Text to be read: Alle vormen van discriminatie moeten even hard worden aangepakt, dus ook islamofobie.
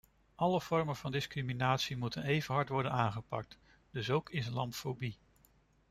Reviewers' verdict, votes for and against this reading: rejected, 1, 2